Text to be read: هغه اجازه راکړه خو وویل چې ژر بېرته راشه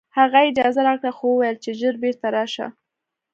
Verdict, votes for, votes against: accepted, 2, 0